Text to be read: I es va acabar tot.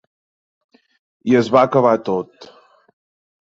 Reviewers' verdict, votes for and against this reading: accepted, 3, 0